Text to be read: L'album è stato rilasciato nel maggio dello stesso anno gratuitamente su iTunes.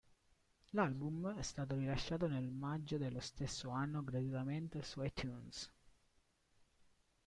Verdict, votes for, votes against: accepted, 3, 1